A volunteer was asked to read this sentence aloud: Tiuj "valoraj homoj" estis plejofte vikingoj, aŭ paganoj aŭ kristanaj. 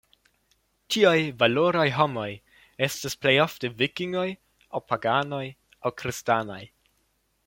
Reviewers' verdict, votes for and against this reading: accepted, 2, 0